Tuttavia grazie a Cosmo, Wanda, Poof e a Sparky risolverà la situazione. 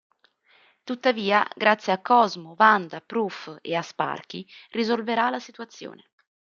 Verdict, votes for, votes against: rejected, 1, 2